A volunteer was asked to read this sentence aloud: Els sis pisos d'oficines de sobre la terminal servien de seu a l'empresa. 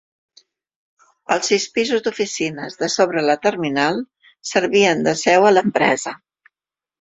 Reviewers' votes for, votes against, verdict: 2, 1, accepted